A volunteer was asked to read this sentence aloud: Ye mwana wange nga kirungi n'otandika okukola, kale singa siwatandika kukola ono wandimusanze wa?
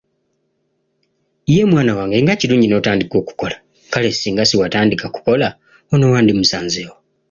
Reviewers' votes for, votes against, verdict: 2, 0, accepted